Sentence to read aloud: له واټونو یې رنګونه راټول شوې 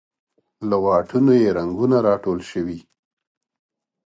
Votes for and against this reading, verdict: 1, 2, rejected